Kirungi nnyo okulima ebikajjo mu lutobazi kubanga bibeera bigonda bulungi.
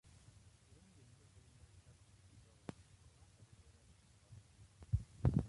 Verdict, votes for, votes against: rejected, 0, 2